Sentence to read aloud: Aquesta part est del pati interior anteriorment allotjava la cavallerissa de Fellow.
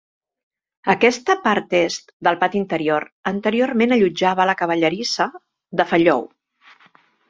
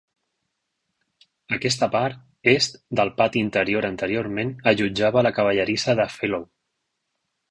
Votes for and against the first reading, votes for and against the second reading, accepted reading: 0, 2, 4, 0, second